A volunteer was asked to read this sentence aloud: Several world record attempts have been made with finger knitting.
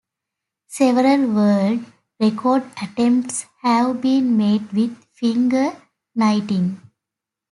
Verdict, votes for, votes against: rejected, 0, 2